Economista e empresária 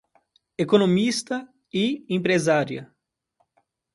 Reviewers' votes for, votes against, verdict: 2, 0, accepted